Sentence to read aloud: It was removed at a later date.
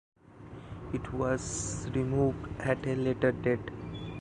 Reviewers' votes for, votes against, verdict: 2, 0, accepted